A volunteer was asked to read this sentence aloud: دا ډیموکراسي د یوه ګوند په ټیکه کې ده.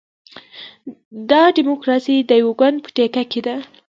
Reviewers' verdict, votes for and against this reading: rejected, 1, 2